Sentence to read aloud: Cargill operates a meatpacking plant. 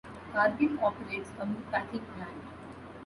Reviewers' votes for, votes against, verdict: 2, 0, accepted